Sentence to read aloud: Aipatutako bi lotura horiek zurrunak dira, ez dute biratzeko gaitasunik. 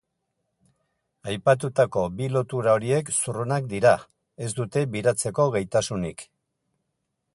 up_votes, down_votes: 2, 0